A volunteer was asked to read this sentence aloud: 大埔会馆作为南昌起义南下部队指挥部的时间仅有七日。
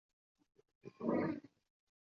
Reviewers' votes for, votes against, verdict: 2, 0, accepted